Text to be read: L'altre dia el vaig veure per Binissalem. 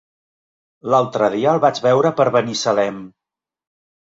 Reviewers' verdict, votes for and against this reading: rejected, 1, 2